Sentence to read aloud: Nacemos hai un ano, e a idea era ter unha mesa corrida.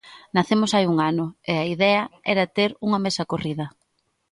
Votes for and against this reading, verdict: 2, 0, accepted